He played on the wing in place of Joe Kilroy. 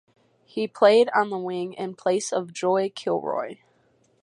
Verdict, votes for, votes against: rejected, 0, 4